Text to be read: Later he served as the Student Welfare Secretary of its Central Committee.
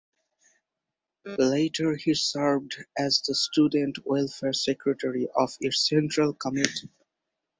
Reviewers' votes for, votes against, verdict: 0, 4, rejected